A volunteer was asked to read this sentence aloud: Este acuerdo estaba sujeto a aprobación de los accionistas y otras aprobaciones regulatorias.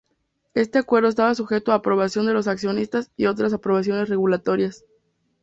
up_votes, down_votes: 4, 0